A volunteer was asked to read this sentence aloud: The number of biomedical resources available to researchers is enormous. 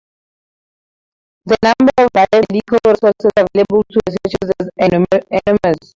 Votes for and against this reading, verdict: 0, 2, rejected